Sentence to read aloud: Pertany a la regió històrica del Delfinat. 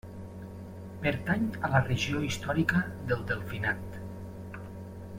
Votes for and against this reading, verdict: 2, 0, accepted